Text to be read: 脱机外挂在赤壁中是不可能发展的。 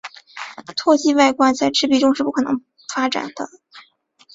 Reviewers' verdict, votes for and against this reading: accepted, 3, 1